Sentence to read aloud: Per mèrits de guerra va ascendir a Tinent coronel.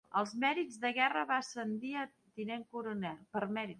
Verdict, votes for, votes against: rejected, 0, 2